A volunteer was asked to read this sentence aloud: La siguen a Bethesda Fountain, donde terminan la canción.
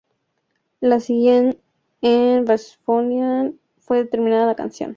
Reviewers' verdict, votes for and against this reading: rejected, 0, 2